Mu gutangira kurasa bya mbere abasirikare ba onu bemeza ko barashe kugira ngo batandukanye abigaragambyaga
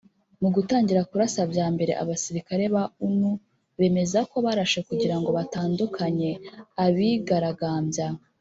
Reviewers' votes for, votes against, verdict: 1, 2, rejected